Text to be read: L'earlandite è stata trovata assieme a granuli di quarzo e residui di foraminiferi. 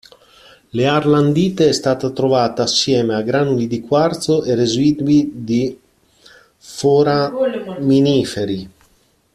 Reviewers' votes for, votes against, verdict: 1, 2, rejected